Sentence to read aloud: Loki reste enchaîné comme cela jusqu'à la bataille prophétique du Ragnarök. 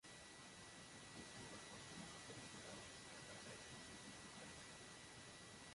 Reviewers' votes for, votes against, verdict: 0, 2, rejected